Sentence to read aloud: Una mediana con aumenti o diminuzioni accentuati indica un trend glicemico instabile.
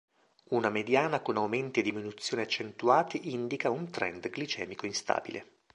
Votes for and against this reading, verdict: 0, 2, rejected